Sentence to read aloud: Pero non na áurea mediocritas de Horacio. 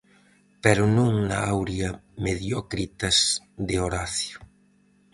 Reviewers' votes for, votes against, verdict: 4, 0, accepted